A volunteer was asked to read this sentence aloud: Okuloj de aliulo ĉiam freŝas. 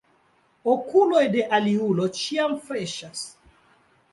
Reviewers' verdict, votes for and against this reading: accepted, 2, 1